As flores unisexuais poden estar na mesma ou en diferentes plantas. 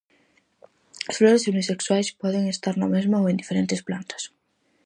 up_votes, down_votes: 4, 0